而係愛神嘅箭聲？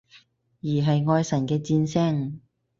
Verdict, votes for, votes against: accepted, 4, 0